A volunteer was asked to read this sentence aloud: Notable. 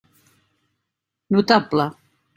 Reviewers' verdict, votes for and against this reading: accepted, 3, 0